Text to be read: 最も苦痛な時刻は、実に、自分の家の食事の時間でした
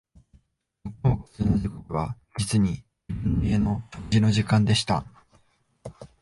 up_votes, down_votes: 0, 2